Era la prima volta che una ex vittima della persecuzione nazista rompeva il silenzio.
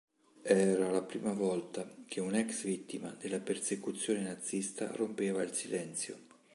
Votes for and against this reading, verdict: 4, 0, accepted